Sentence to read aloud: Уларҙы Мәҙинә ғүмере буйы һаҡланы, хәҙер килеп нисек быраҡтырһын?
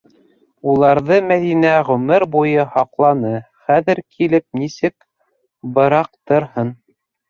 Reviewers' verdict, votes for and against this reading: rejected, 0, 2